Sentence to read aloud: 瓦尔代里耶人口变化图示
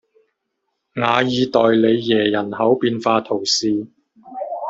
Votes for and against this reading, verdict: 0, 2, rejected